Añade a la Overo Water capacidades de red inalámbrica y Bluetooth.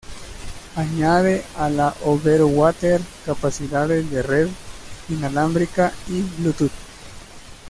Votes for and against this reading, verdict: 2, 0, accepted